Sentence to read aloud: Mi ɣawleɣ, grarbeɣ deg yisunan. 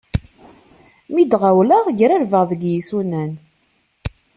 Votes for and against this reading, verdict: 2, 0, accepted